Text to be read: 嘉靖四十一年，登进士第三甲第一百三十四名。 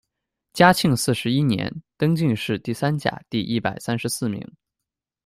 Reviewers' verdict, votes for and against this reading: accepted, 2, 1